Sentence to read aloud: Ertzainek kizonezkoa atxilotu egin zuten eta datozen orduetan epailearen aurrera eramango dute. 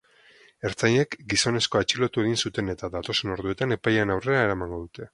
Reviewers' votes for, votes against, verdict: 0, 2, rejected